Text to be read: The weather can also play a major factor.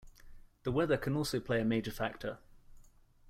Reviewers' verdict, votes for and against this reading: accepted, 2, 0